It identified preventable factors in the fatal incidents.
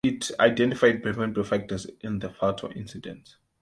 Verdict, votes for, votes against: rejected, 1, 2